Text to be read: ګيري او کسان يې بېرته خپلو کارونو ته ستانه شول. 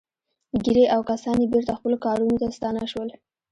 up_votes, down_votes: 0, 2